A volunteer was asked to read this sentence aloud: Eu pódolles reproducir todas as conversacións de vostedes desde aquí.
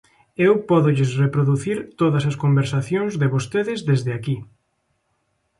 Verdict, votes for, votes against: accepted, 2, 0